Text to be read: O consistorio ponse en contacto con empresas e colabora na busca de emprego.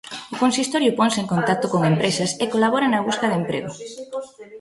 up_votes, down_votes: 2, 1